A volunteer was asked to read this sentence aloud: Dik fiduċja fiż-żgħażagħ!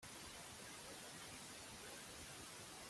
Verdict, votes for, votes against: rejected, 0, 2